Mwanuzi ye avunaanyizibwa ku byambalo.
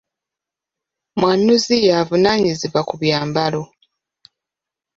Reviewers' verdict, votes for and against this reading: rejected, 0, 2